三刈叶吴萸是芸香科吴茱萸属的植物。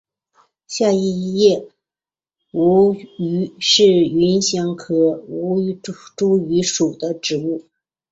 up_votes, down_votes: 2, 1